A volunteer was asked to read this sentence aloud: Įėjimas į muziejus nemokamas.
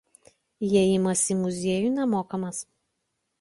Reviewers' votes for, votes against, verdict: 1, 2, rejected